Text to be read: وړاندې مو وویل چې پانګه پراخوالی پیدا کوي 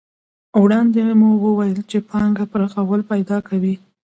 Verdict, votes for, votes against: accepted, 2, 0